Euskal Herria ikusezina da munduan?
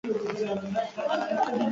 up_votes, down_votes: 0, 2